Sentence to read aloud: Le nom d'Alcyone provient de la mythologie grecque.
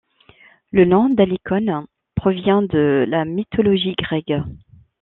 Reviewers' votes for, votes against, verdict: 1, 2, rejected